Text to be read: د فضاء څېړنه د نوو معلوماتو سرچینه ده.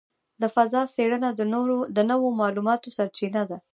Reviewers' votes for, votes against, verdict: 2, 1, accepted